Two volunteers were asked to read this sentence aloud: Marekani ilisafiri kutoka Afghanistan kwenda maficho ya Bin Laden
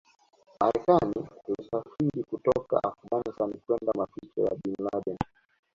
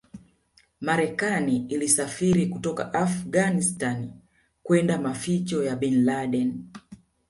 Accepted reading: second